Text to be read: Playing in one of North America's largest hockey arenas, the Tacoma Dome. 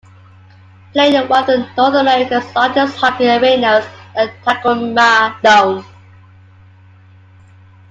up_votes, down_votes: 0, 2